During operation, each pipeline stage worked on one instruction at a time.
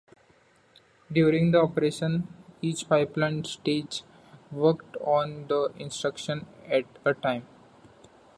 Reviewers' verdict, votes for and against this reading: rejected, 0, 2